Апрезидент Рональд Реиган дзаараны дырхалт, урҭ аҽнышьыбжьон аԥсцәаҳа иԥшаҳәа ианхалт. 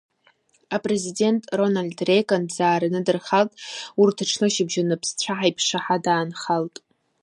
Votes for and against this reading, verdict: 1, 2, rejected